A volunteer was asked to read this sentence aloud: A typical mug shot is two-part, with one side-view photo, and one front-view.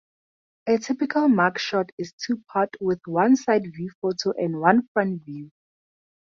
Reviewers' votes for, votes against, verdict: 4, 0, accepted